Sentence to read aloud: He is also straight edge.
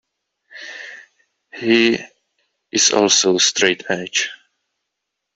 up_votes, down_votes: 1, 2